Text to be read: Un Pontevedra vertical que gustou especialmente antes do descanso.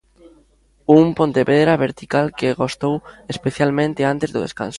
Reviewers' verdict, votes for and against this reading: rejected, 0, 2